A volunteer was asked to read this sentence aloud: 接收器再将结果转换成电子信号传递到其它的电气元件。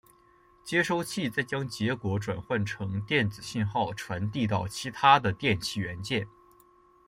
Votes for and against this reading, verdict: 2, 0, accepted